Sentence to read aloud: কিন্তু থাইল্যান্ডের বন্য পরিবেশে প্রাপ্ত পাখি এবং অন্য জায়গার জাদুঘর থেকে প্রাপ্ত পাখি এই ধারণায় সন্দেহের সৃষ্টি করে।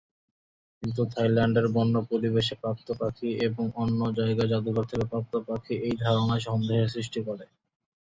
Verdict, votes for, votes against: rejected, 0, 2